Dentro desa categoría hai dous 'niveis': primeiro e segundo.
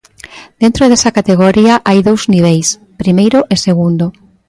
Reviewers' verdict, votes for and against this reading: accepted, 3, 0